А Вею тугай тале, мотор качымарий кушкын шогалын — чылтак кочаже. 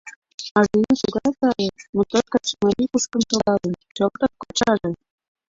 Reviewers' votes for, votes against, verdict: 0, 2, rejected